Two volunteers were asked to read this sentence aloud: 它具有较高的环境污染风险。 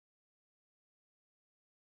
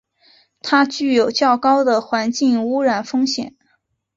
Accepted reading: second